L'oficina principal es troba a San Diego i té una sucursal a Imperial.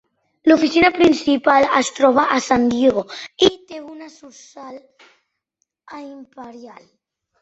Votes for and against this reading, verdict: 0, 4, rejected